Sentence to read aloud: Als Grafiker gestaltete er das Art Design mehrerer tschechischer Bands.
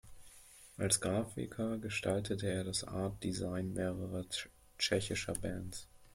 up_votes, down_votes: 0, 2